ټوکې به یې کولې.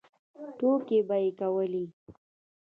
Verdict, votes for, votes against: accepted, 2, 0